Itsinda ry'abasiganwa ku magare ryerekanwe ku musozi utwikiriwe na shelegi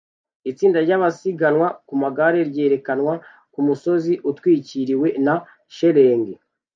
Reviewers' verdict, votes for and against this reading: rejected, 1, 2